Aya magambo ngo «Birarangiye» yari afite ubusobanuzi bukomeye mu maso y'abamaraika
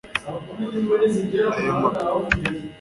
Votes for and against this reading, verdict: 0, 2, rejected